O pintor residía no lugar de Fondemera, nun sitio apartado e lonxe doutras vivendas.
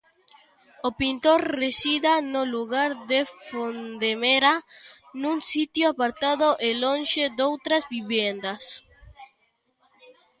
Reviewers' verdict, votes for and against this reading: rejected, 0, 2